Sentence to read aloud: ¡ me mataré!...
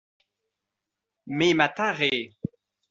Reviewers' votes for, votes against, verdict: 1, 2, rejected